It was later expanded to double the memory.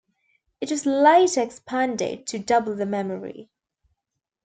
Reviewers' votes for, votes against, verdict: 1, 2, rejected